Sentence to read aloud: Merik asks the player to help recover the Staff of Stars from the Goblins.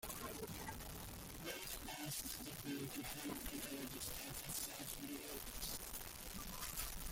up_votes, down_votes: 1, 2